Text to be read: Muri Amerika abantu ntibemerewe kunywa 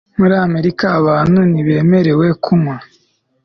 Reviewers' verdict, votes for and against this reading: accepted, 2, 0